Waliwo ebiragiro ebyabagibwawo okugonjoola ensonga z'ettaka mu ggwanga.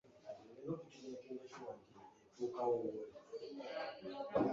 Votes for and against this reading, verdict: 0, 2, rejected